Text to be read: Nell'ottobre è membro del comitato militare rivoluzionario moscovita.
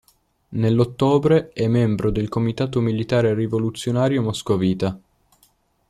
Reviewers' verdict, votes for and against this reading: accepted, 2, 0